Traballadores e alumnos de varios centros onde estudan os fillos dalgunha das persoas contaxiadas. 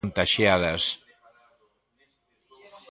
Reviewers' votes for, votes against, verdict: 1, 2, rejected